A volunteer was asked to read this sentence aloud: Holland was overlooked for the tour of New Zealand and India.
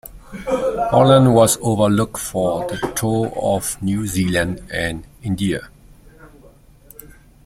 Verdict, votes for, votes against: rejected, 1, 2